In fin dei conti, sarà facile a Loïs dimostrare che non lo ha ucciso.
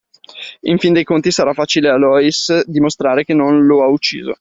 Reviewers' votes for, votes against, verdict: 2, 0, accepted